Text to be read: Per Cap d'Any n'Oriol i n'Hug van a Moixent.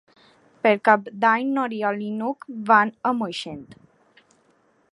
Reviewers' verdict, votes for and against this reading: accepted, 3, 0